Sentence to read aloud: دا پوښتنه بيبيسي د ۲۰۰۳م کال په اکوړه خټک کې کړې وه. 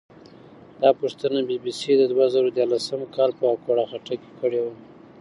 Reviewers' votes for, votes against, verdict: 0, 2, rejected